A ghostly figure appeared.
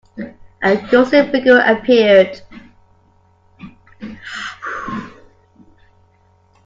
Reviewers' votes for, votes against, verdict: 0, 2, rejected